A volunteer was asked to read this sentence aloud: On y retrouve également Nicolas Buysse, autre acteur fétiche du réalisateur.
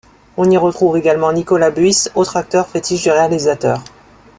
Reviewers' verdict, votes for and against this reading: accepted, 2, 1